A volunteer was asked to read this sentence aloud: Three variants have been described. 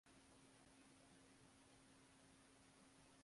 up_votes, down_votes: 0, 2